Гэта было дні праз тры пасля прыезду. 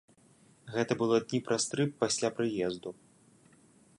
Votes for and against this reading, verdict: 2, 0, accepted